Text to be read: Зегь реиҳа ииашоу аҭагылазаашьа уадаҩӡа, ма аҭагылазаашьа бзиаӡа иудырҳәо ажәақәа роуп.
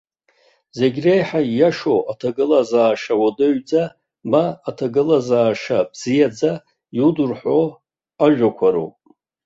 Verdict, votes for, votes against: accepted, 2, 1